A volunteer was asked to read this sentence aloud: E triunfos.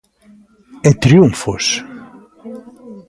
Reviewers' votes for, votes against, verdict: 0, 2, rejected